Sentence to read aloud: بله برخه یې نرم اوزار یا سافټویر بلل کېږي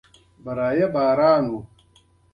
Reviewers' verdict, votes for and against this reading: rejected, 1, 2